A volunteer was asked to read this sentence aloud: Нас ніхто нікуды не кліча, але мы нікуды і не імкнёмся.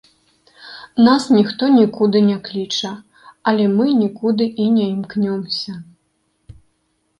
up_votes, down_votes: 2, 1